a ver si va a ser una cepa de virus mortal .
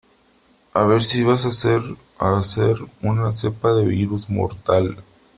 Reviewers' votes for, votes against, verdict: 0, 3, rejected